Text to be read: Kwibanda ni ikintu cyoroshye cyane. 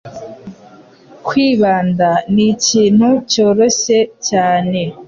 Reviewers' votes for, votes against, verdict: 2, 0, accepted